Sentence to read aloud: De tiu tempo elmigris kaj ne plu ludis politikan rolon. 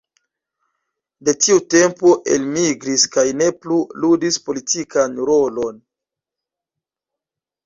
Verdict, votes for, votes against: rejected, 1, 2